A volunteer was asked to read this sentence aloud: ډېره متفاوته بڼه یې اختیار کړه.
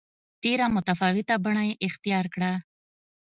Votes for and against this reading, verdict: 2, 0, accepted